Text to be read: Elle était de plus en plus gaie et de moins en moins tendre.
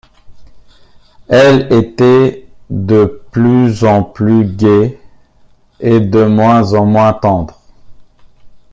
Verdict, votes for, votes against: rejected, 0, 2